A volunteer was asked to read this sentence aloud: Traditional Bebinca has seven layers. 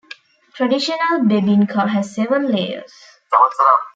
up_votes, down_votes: 0, 2